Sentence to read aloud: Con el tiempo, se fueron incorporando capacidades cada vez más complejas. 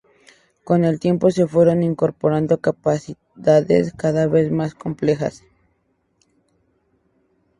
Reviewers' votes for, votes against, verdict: 2, 0, accepted